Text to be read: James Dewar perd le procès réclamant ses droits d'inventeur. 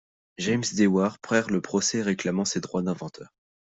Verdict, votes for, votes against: accepted, 2, 0